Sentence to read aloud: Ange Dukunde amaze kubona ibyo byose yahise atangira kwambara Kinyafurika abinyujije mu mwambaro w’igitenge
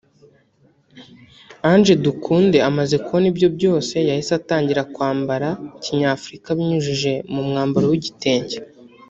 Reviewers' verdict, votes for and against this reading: rejected, 0, 2